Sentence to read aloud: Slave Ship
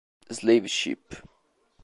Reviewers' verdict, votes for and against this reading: accepted, 2, 0